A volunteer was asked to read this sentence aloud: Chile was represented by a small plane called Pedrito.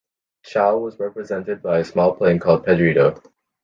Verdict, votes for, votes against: accepted, 2, 0